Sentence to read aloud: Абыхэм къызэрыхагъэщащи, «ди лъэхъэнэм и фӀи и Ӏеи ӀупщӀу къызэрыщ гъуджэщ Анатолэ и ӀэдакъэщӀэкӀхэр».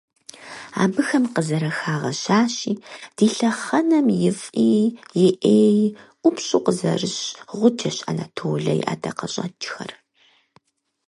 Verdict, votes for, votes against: accepted, 4, 0